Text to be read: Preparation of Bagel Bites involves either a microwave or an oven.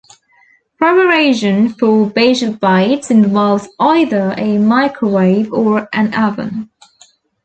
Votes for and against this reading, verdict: 0, 2, rejected